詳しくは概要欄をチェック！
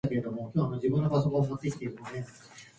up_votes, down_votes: 0, 2